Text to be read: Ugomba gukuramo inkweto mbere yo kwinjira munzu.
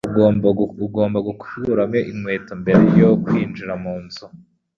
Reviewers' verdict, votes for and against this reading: rejected, 0, 2